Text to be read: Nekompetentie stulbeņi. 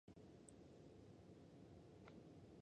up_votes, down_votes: 0, 2